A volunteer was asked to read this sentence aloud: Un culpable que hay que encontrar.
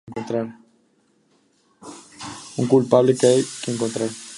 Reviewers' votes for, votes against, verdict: 0, 2, rejected